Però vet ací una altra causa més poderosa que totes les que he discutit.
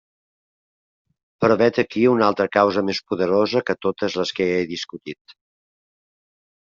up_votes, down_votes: 1, 2